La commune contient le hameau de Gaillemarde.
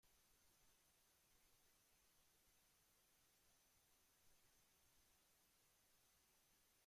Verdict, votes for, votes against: rejected, 0, 2